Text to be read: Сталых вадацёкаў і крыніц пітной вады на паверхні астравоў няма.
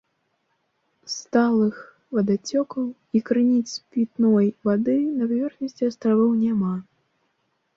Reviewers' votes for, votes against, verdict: 1, 2, rejected